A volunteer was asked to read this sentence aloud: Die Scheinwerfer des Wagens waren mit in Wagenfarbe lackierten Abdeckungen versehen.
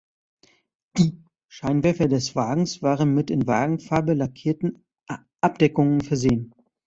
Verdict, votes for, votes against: rejected, 1, 2